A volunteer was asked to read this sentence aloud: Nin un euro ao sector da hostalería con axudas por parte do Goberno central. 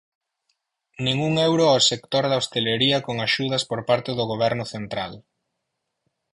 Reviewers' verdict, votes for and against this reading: rejected, 2, 4